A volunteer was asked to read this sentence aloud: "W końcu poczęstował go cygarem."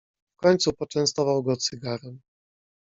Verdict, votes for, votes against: accepted, 2, 1